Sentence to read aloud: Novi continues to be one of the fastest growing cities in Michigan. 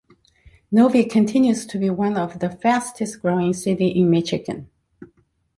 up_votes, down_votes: 0, 2